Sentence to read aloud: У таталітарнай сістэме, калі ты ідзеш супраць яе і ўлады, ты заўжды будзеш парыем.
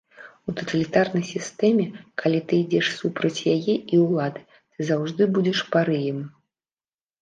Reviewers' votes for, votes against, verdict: 1, 2, rejected